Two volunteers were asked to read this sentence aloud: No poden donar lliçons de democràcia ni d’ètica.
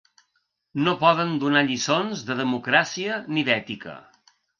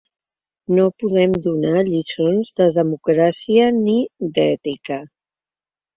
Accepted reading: first